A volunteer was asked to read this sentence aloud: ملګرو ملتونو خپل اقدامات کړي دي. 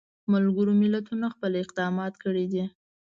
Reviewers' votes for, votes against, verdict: 3, 0, accepted